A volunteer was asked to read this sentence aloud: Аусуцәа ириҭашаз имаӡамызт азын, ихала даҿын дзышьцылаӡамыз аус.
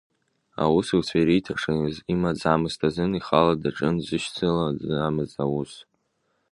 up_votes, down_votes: 1, 2